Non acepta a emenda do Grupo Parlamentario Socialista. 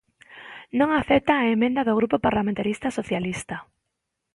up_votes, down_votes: 1, 2